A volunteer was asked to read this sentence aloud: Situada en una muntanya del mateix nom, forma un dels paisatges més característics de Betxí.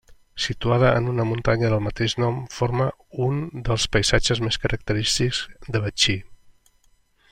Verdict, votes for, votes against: accepted, 2, 0